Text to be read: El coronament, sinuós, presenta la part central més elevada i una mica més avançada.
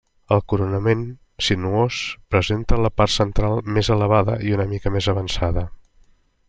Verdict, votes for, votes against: accepted, 3, 0